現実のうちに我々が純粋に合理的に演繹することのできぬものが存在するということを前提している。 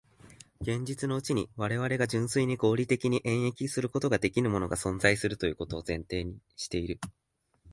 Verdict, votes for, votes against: accepted, 2, 0